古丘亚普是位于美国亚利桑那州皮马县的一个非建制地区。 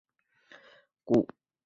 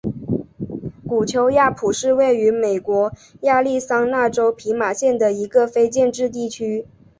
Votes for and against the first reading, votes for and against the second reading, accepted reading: 0, 3, 3, 0, second